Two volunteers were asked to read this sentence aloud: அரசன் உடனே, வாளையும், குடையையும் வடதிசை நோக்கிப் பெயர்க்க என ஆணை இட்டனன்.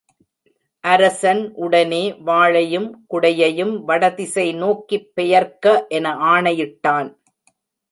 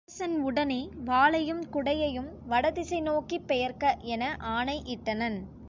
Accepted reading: second